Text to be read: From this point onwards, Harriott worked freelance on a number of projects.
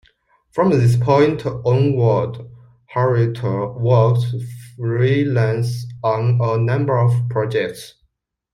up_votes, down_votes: 2, 0